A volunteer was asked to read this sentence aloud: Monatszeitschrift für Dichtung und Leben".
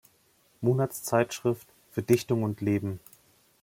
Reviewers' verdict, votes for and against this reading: accepted, 2, 0